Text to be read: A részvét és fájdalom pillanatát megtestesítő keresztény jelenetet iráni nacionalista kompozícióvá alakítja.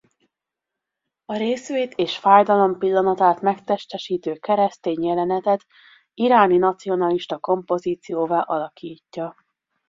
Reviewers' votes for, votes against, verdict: 2, 0, accepted